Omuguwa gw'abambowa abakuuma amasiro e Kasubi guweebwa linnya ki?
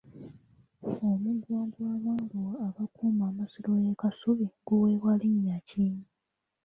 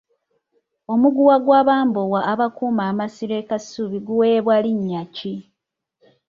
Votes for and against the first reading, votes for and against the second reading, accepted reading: 1, 2, 2, 0, second